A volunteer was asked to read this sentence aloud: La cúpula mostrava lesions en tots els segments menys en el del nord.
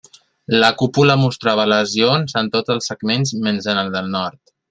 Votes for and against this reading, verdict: 2, 0, accepted